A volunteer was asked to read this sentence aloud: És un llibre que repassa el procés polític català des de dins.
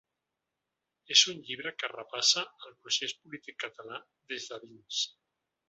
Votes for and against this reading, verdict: 2, 1, accepted